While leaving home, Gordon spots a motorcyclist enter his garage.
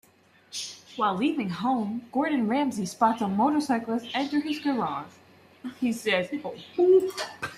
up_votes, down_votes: 0, 2